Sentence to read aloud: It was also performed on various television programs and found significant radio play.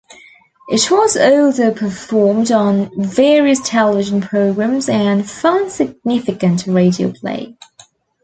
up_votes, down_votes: 2, 1